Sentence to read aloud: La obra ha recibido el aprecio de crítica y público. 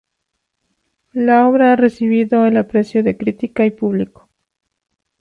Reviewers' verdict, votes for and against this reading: accepted, 2, 0